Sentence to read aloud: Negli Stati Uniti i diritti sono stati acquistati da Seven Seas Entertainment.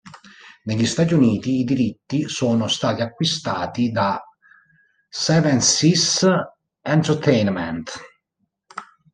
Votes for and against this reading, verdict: 1, 2, rejected